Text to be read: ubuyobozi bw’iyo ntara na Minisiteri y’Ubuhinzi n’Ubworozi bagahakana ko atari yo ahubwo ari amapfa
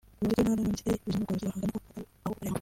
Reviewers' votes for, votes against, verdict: 0, 2, rejected